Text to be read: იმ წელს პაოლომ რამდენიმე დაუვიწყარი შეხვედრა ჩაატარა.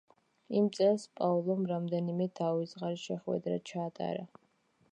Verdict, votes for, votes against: accepted, 2, 0